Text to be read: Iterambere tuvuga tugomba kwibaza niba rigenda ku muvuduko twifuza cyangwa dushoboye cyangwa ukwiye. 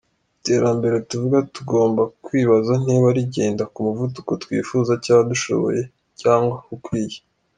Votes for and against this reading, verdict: 2, 0, accepted